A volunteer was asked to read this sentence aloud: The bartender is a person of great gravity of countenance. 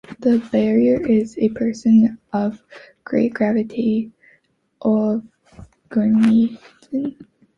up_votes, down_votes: 0, 3